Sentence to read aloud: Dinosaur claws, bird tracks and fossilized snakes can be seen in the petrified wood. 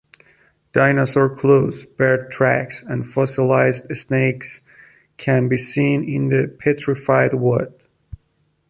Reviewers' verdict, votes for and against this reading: rejected, 1, 2